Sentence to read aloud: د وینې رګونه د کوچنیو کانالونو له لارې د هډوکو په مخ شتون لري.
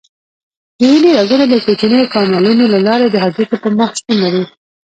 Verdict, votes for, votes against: rejected, 1, 2